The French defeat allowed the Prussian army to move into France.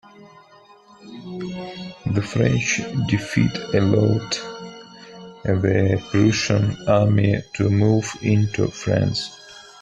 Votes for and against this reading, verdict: 2, 0, accepted